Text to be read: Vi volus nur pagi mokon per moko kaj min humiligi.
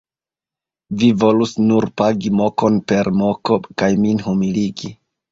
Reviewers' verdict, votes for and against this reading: accepted, 2, 0